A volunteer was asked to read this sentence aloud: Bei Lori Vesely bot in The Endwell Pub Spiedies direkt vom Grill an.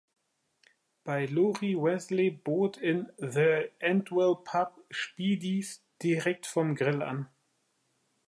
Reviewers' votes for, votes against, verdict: 2, 1, accepted